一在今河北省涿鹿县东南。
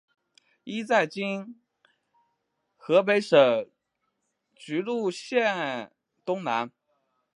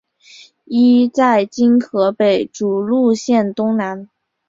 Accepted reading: first